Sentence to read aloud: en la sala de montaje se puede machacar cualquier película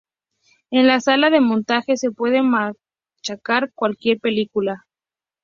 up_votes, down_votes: 0, 2